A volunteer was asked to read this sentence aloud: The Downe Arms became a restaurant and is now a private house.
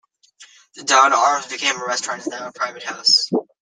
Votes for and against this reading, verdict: 0, 2, rejected